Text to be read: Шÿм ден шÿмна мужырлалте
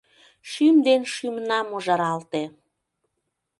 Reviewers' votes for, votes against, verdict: 0, 2, rejected